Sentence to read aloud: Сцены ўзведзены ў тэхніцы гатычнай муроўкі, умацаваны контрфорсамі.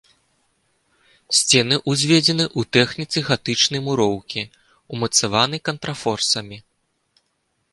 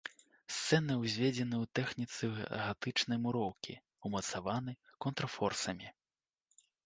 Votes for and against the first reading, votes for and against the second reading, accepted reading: 2, 0, 0, 2, first